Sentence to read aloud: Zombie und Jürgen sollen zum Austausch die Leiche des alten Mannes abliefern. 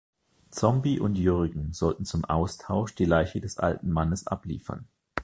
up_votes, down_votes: 1, 2